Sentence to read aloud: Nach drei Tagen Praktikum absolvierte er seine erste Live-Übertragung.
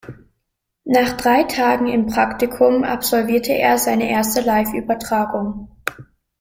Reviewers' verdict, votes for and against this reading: rejected, 0, 2